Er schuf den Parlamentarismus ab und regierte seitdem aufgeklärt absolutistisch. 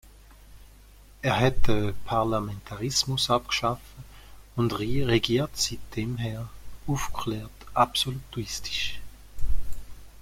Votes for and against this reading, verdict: 1, 2, rejected